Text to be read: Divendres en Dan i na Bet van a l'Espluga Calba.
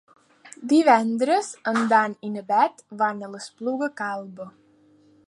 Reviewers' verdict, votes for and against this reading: accepted, 2, 0